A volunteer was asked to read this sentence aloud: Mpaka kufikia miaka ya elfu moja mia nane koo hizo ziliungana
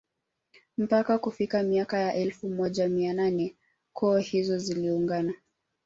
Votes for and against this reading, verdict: 1, 2, rejected